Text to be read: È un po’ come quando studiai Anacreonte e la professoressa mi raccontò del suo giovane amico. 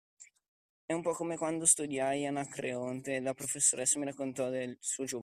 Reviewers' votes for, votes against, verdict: 0, 2, rejected